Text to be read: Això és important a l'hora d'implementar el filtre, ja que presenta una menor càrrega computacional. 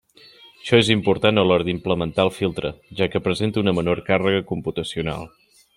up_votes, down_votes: 2, 0